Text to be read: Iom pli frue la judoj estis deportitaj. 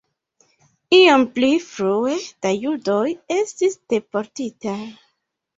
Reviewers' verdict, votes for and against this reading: accepted, 2, 0